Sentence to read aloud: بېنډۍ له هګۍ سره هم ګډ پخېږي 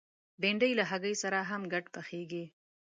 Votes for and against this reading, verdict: 2, 0, accepted